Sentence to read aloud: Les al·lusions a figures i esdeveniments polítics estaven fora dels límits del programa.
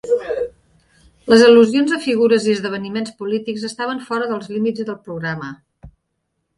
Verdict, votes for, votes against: accepted, 4, 0